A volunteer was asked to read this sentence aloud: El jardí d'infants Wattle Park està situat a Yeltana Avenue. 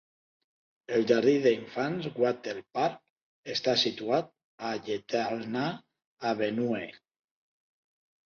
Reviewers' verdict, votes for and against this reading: accepted, 2, 1